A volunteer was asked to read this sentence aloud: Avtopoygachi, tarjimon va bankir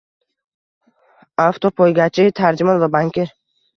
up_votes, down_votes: 2, 0